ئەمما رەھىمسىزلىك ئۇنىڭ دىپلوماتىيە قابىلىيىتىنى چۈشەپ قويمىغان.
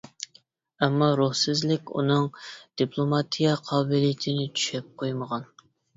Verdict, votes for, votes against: rejected, 0, 2